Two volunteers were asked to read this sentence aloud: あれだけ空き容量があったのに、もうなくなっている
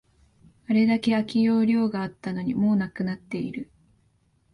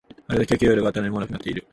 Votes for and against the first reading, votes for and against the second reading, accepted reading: 5, 0, 2, 3, first